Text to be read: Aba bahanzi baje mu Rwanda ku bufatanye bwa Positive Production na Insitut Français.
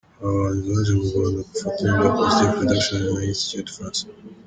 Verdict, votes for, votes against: rejected, 0, 3